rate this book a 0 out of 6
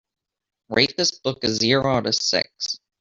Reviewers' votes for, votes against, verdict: 0, 2, rejected